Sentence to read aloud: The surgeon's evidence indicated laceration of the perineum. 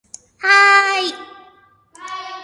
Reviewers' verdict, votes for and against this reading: rejected, 0, 2